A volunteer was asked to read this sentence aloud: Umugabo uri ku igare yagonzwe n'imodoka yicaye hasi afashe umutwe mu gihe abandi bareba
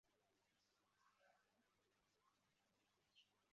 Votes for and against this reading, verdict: 0, 2, rejected